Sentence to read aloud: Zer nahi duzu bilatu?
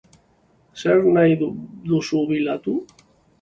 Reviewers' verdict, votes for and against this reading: rejected, 0, 2